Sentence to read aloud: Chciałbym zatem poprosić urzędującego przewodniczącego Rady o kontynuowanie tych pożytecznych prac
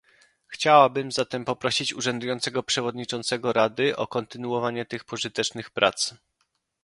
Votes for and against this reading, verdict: 0, 2, rejected